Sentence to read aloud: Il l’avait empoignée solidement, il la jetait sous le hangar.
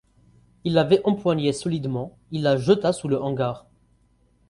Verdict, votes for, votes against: rejected, 0, 4